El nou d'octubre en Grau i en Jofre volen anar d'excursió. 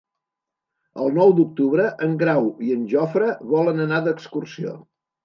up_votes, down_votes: 3, 0